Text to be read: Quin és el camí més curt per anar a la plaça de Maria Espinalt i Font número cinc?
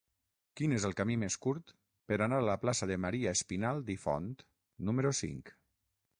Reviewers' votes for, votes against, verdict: 0, 6, rejected